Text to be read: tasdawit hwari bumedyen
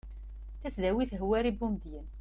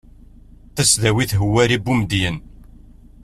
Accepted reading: second